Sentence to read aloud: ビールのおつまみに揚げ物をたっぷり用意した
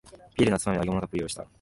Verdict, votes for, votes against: rejected, 0, 2